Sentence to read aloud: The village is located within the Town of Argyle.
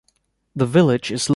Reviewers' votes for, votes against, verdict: 0, 2, rejected